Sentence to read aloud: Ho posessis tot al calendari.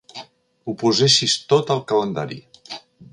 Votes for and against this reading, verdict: 2, 0, accepted